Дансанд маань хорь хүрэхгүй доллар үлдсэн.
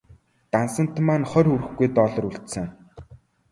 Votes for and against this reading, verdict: 2, 0, accepted